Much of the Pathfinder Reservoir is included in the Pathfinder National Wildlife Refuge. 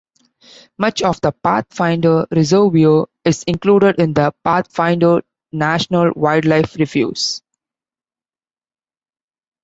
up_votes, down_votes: 1, 2